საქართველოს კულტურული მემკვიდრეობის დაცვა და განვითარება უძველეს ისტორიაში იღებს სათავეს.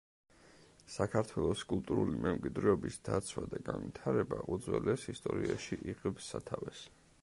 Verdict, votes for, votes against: accepted, 2, 0